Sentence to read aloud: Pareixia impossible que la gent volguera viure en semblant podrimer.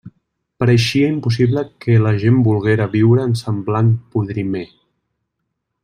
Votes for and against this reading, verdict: 0, 2, rejected